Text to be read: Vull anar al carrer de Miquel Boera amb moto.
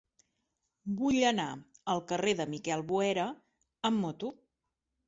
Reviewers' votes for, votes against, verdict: 3, 0, accepted